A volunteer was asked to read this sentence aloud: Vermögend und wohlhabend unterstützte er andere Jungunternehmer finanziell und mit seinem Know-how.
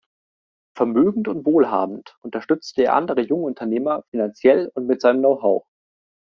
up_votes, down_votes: 2, 0